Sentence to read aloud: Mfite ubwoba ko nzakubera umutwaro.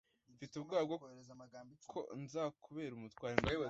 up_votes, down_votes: 0, 2